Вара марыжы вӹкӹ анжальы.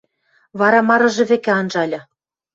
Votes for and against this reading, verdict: 2, 0, accepted